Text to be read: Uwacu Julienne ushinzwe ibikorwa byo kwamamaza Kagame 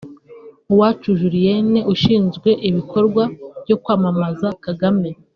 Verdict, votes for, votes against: accepted, 2, 0